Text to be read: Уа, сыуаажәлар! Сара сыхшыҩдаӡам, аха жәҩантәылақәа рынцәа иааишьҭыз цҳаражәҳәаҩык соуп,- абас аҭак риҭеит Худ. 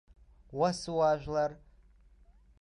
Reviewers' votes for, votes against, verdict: 0, 2, rejected